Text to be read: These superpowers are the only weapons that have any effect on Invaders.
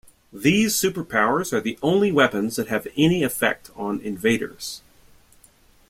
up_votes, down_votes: 2, 0